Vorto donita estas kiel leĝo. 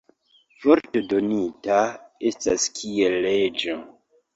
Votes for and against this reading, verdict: 2, 1, accepted